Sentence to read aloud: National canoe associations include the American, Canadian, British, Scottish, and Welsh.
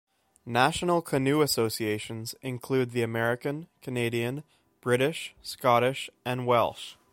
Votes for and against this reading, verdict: 2, 0, accepted